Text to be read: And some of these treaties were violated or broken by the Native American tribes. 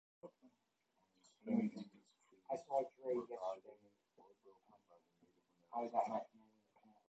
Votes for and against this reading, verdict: 0, 2, rejected